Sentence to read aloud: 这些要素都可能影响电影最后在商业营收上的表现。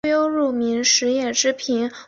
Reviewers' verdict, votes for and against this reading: rejected, 0, 3